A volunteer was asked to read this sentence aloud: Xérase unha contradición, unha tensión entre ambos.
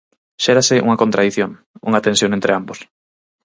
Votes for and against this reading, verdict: 4, 0, accepted